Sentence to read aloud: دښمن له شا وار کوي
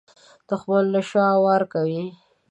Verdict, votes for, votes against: accepted, 2, 0